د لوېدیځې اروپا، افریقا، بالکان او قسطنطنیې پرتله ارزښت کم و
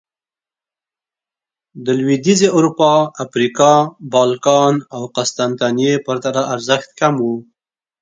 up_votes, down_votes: 2, 0